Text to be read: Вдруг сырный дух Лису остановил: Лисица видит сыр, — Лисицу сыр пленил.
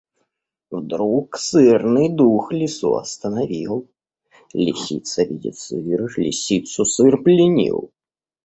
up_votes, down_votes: 3, 0